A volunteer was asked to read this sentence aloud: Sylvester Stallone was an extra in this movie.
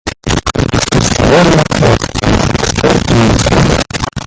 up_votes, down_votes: 0, 2